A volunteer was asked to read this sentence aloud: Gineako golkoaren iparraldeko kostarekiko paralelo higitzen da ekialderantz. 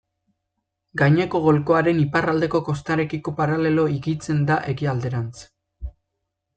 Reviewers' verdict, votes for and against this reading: rejected, 0, 2